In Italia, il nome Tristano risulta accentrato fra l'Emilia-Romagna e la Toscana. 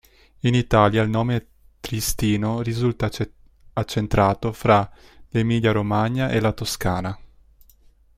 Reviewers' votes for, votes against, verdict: 0, 2, rejected